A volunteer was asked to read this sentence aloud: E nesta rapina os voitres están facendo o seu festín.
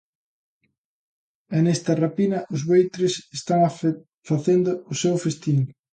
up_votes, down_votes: 0, 2